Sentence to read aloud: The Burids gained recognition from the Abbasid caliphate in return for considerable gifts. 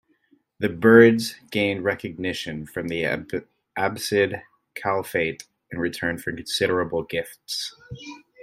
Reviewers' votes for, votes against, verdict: 1, 2, rejected